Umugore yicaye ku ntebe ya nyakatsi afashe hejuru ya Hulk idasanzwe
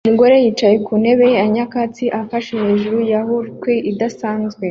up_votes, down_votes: 2, 0